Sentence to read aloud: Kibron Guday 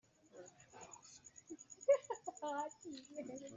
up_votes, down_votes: 0, 2